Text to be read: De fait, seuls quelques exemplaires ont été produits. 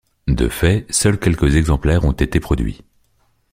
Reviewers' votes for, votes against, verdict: 2, 0, accepted